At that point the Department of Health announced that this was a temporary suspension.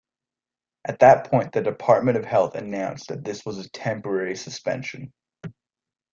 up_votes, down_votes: 2, 0